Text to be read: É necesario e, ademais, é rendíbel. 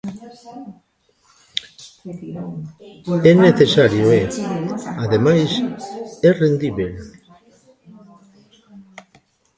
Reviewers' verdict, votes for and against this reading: rejected, 1, 2